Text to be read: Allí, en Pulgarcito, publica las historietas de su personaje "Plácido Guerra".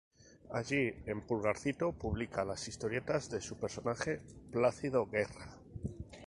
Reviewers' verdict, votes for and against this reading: accepted, 2, 0